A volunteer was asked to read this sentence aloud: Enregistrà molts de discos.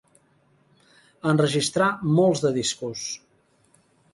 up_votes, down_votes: 2, 0